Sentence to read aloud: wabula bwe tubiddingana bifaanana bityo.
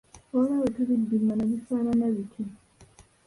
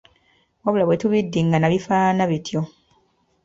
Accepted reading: second